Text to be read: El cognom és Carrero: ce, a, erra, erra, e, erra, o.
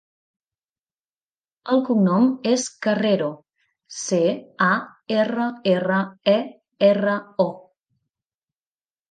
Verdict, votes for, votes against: accepted, 2, 0